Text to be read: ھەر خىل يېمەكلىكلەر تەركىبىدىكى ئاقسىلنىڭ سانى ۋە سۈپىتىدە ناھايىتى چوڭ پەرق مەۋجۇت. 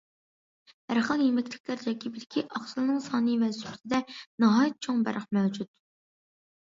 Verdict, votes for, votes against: accepted, 2, 0